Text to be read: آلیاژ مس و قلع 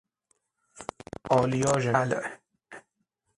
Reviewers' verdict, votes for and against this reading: rejected, 0, 6